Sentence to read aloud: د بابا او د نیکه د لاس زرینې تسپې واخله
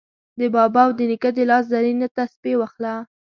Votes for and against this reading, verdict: 1, 2, rejected